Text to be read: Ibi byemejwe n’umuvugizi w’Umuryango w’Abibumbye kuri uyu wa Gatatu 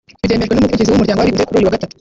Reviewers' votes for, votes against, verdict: 1, 2, rejected